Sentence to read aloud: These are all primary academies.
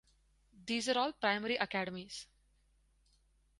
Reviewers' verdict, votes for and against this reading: rejected, 2, 2